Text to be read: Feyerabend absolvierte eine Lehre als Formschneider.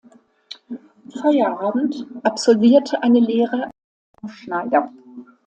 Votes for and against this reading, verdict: 0, 2, rejected